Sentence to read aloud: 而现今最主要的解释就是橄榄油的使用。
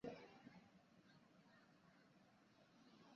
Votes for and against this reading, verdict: 0, 2, rejected